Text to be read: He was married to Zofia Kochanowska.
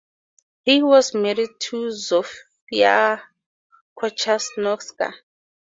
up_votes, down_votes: 2, 2